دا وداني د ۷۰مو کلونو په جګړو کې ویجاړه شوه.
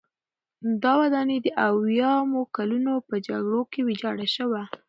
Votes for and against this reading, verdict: 0, 2, rejected